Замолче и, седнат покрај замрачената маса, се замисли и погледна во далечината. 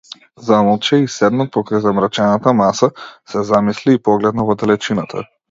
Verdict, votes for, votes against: accepted, 2, 0